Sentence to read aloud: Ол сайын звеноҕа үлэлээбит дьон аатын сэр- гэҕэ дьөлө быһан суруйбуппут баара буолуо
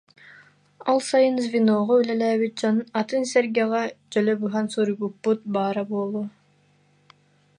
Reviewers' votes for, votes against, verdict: 1, 2, rejected